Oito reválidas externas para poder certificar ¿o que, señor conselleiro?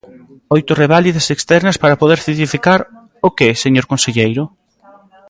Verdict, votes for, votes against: rejected, 0, 2